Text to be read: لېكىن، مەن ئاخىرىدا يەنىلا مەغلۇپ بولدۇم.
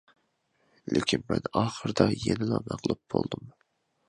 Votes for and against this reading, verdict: 2, 0, accepted